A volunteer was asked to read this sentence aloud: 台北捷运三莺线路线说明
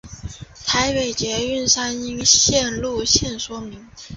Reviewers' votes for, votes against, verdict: 2, 0, accepted